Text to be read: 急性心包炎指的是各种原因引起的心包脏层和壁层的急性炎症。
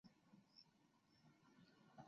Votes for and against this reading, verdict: 0, 2, rejected